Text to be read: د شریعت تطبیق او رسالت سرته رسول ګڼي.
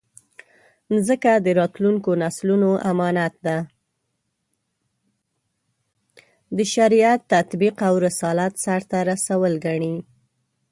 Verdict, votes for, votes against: rejected, 0, 2